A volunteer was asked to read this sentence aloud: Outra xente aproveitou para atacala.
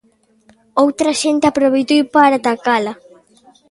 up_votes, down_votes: 0, 2